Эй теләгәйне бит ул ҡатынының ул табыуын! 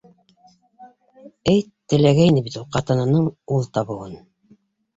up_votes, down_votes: 2, 1